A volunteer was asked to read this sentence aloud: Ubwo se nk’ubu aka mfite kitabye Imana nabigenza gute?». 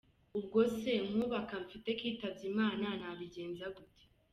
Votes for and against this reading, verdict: 2, 0, accepted